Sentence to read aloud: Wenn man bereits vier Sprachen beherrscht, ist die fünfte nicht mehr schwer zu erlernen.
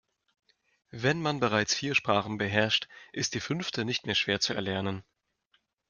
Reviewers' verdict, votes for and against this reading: accepted, 2, 0